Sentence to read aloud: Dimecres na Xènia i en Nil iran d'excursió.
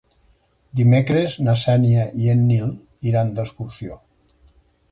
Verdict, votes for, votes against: accepted, 4, 2